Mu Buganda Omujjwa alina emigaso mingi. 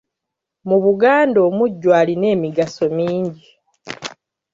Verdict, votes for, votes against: accepted, 2, 0